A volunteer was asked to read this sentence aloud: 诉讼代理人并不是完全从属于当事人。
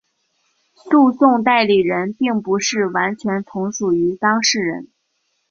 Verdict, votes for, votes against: accepted, 3, 0